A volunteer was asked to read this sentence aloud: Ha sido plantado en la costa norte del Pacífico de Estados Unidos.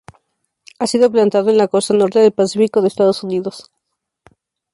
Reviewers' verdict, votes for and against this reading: accepted, 2, 0